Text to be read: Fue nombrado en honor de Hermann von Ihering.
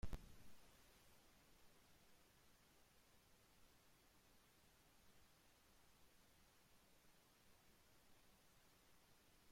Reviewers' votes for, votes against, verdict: 0, 3, rejected